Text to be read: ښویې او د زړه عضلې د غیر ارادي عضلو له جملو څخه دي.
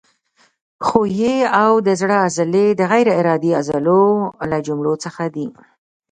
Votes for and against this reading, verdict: 2, 0, accepted